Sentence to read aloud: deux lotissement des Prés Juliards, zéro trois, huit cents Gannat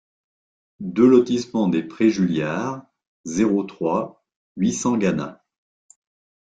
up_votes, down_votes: 2, 1